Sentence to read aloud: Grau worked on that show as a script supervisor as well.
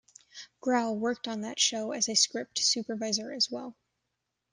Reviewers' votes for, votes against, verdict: 0, 2, rejected